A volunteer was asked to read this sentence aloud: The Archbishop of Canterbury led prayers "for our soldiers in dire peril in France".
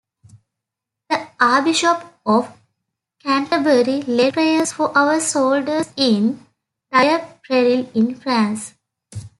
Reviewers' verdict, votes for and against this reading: rejected, 0, 2